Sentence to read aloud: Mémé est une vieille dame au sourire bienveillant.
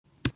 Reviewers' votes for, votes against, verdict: 0, 2, rejected